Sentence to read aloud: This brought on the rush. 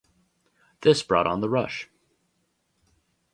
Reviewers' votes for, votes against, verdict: 2, 2, rejected